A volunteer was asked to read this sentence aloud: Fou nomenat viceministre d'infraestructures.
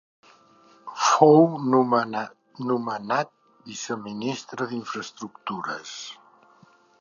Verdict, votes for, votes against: rejected, 0, 2